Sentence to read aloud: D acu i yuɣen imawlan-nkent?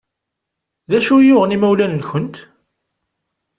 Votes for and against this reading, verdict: 2, 0, accepted